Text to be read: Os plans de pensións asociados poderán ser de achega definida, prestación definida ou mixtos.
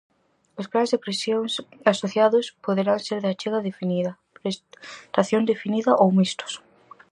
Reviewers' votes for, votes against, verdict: 0, 4, rejected